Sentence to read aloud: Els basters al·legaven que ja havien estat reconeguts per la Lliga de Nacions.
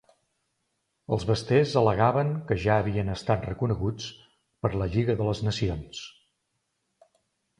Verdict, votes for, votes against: rejected, 1, 2